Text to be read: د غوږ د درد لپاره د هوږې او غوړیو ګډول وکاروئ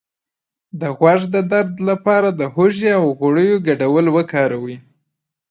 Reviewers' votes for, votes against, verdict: 0, 2, rejected